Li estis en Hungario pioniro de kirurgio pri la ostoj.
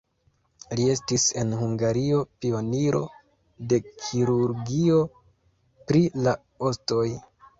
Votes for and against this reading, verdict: 2, 0, accepted